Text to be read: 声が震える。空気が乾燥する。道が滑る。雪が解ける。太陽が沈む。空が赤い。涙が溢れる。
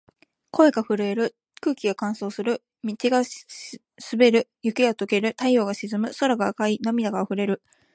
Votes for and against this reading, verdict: 2, 1, accepted